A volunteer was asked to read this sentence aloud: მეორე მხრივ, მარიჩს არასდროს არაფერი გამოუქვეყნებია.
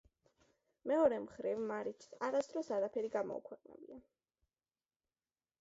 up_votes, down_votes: 2, 0